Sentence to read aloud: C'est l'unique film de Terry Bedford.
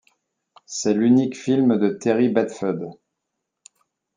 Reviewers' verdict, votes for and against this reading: rejected, 1, 2